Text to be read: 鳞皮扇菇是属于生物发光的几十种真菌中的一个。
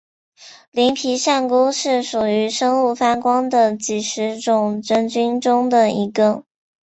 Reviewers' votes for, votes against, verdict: 5, 1, accepted